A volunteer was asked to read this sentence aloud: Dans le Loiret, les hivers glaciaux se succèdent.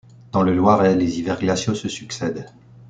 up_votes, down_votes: 2, 0